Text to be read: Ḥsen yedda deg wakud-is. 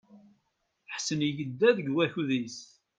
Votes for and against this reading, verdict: 2, 0, accepted